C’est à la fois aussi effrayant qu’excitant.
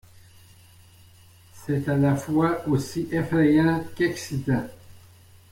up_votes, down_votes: 2, 0